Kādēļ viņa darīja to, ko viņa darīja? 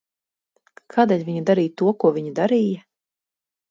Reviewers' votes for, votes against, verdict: 2, 0, accepted